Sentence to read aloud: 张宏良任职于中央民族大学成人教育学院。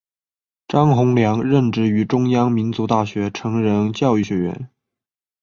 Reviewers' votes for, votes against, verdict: 2, 0, accepted